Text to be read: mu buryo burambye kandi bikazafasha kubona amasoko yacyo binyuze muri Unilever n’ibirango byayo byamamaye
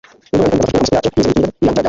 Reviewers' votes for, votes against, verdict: 0, 2, rejected